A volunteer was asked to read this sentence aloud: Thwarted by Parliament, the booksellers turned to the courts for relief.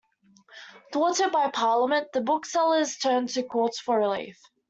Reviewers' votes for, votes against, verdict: 1, 2, rejected